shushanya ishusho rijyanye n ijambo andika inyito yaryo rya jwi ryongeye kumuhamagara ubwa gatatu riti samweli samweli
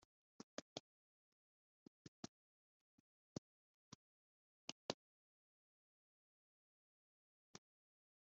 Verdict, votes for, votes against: rejected, 0, 2